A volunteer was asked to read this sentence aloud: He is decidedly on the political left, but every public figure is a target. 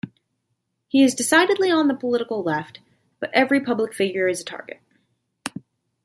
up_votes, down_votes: 2, 0